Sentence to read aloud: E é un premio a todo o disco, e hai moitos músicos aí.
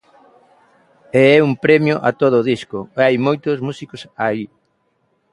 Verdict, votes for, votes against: accepted, 2, 0